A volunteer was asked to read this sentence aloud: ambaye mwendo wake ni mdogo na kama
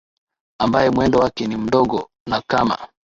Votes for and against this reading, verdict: 0, 2, rejected